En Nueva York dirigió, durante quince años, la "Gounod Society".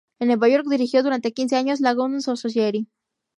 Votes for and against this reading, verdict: 0, 2, rejected